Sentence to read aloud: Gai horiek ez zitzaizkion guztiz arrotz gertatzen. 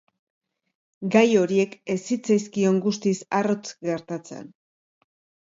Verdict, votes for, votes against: accepted, 2, 0